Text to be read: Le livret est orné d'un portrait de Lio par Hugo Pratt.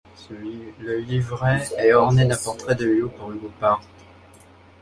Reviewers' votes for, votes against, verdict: 0, 2, rejected